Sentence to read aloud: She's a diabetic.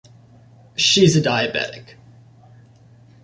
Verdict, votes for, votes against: accepted, 2, 0